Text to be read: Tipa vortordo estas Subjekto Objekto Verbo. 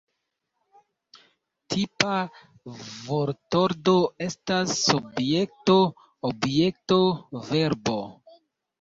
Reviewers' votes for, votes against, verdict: 0, 2, rejected